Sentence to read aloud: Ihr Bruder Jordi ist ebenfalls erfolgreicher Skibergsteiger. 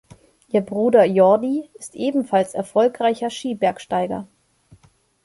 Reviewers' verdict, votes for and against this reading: accepted, 3, 0